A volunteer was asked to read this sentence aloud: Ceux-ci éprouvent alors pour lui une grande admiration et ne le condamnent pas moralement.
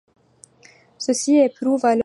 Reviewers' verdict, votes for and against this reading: rejected, 1, 2